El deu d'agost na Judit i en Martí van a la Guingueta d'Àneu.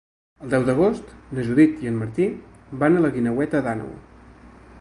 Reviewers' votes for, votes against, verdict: 1, 2, rejected